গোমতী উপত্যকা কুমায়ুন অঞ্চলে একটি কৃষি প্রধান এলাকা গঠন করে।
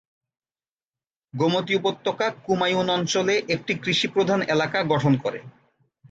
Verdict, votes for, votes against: accepted, 3, 0